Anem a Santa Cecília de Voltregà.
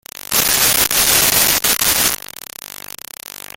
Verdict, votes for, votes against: rejected, 0, 2